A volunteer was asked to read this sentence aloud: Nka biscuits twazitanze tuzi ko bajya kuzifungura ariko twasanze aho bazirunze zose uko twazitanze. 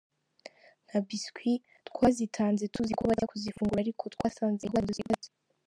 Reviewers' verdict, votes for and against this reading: rejected, 0, 3